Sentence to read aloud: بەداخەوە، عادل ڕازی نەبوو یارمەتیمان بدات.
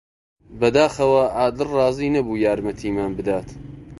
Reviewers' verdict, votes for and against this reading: accepted, 2, 0